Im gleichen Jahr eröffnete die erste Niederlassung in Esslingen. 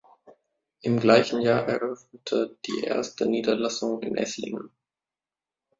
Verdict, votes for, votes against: accepted, 3, 1